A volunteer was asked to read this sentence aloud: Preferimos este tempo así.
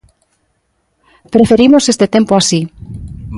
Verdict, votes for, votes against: accepted, 2, 0